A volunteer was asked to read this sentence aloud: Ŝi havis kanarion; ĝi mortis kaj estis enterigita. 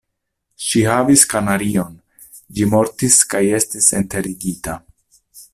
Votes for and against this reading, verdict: 2, 0, accepted